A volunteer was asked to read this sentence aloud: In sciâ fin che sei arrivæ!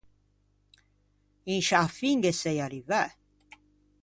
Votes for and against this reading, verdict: 0, 2, rejected